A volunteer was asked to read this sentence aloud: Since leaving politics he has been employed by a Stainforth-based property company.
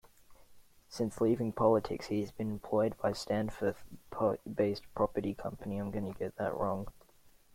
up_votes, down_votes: 0, 2